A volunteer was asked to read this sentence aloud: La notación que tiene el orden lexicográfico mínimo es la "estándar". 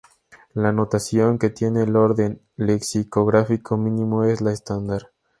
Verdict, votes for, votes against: accepted, 2, 0